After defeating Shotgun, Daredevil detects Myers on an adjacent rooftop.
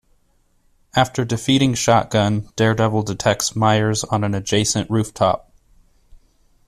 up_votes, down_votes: 2, 0